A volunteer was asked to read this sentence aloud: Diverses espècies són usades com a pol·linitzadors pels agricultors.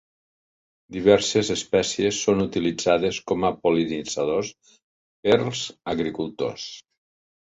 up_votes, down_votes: 0, 2